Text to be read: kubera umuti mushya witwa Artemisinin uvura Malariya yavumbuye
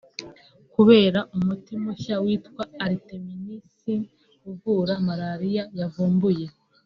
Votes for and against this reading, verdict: 2, 0, accepted